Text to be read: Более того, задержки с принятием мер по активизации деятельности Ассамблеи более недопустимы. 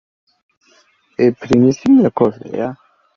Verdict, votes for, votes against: rejected, 0, 2